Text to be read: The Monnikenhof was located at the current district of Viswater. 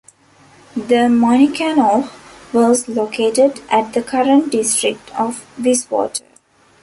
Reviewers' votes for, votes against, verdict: 0, 2, rejected